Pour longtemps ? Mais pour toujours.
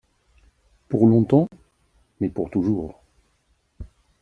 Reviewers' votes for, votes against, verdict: 2, 0, accepted